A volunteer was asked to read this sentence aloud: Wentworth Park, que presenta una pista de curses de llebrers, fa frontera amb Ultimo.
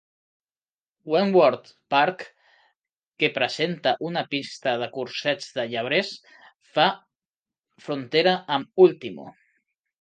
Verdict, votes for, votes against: rejected, 0, 2